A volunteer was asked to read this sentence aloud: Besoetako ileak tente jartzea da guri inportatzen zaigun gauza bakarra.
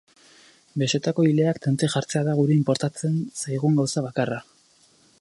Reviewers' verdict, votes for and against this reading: accepted, 4, 0